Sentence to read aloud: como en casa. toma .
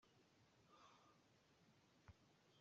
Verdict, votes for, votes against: rejected, 0, 2